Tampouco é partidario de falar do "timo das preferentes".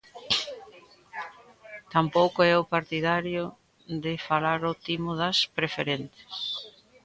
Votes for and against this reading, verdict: 0, 3, rejected